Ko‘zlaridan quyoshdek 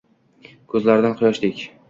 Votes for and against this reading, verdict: 2, 0, accepted